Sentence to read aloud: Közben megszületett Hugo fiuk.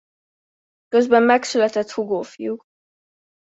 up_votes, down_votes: 0, 2